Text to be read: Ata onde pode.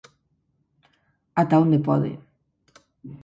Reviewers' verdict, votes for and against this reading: accepted, 4, 0